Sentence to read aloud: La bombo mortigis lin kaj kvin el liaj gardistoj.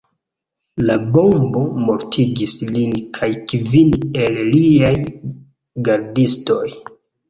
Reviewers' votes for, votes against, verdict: 2, 1, accepted